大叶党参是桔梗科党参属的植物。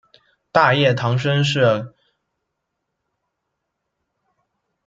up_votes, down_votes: 0, 2